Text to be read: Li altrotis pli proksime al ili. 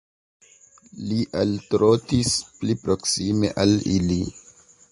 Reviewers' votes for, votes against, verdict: 2, 1, accepted